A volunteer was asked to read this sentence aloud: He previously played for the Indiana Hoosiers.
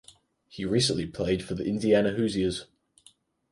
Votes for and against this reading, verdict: 0, 4, rejected